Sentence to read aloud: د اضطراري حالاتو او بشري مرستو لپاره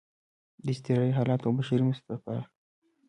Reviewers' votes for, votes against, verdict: 2, 0, accepted